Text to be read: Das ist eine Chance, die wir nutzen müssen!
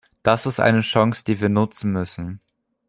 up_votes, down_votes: 3, 0